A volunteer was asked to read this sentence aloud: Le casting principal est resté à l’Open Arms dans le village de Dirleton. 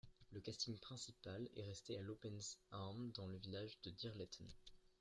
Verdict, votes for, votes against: accepted, 3, 1